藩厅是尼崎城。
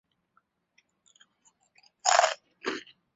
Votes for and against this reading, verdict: 1, 2, rejected